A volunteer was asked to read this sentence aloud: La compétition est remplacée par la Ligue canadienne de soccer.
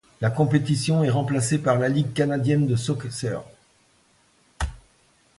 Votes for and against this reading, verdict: 0, 2, rejected